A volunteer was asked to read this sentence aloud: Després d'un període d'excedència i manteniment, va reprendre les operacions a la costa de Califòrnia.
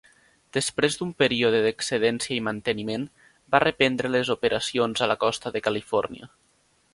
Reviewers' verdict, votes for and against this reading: accepted, 3, 0